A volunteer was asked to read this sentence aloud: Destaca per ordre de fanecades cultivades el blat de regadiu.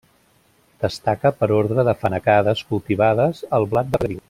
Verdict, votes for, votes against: rejected, 0, 2